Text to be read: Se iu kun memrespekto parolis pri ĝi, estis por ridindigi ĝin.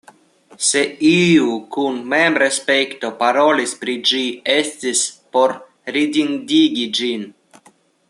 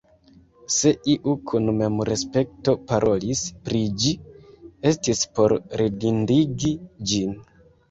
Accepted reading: first